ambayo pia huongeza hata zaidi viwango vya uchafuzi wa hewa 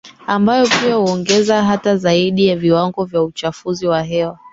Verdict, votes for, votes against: rejected, 0, 2